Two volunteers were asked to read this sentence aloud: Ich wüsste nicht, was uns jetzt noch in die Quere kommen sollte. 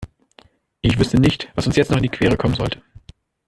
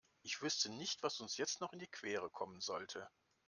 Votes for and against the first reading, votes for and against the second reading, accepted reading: 1, 2, 2, 0, second